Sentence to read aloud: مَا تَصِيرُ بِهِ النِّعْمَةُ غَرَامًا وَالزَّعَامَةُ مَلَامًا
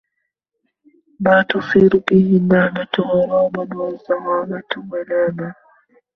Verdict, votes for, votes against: rejected, 0, 2